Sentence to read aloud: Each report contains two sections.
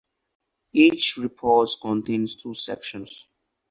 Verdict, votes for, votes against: accepted, 2, 0